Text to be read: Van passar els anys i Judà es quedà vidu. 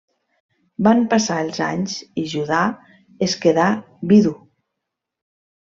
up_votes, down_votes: 3, 0